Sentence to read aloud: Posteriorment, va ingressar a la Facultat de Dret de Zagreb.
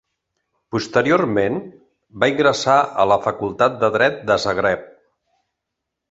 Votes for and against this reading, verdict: 2, 0, accepted